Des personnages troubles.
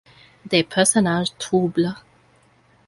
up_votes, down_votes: 2, 1